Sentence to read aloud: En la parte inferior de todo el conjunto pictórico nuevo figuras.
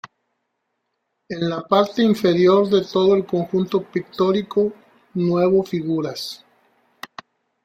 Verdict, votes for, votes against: accepted, 2, 1